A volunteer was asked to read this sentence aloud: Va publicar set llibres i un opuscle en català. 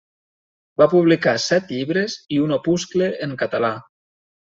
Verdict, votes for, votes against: rejected, 1, 2